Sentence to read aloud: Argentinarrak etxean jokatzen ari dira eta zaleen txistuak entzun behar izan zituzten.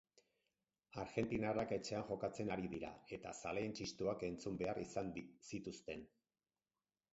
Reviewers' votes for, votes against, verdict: 2, 4, rejected